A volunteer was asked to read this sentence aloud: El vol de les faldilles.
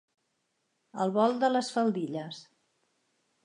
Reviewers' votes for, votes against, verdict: 3, 0, accepted